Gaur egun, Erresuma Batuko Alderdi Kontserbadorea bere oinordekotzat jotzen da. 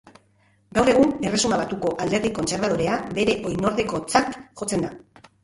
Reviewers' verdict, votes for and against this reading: accepted, 3, 1